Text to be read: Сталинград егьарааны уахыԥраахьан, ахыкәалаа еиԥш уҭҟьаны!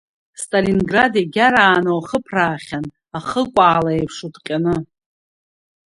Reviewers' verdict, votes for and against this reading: accepted, 3, 0